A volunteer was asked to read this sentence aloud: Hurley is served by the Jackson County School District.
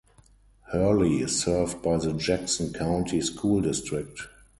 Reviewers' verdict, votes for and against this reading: accepted, 4, 0